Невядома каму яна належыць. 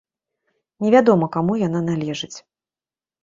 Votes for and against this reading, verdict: 2, 0, accepted